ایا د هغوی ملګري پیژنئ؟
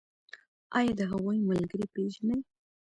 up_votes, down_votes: 1, 2